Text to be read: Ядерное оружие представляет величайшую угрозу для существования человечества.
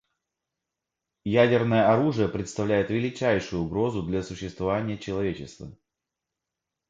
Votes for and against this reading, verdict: 2, 0, accepted